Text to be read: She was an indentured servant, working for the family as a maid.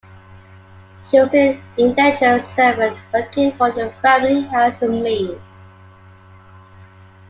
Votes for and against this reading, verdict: 2, 1, accepted